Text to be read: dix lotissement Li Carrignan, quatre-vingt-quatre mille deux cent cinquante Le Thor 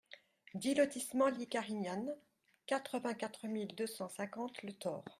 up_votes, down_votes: 1, 2